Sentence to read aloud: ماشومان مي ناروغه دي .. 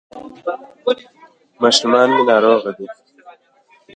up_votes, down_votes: 1, 2